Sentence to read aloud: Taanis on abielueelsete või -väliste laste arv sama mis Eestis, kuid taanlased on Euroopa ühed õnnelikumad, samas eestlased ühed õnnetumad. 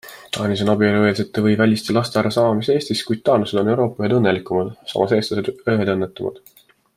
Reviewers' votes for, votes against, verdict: 2, 0, accepted